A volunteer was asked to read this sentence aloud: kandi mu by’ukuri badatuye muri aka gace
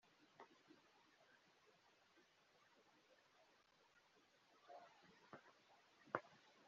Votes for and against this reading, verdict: 0, 3, rejected